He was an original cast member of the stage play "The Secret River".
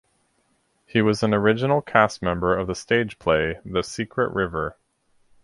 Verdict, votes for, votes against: accepted, 4, 0